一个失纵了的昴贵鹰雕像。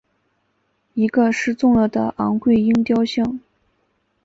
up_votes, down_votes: 0, 2